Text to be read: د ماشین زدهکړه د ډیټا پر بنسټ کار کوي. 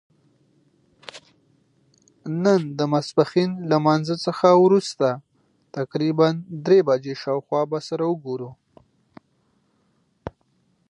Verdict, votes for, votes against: rejected, 0, 2